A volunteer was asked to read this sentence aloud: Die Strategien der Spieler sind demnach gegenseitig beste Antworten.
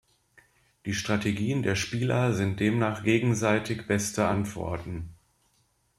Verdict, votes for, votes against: accepted, 2, 0